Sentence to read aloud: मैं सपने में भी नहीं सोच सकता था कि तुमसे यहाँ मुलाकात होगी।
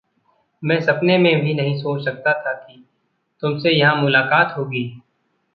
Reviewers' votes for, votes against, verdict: 0, 2, rejected